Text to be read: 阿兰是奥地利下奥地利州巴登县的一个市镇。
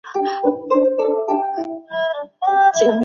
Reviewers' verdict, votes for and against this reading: rejected, 0, 2